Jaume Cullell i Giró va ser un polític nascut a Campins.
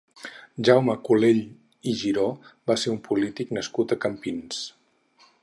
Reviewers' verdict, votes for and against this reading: rejected, 2, 4